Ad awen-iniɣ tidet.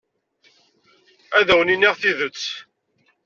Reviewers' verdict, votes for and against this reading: accepted, 2, 0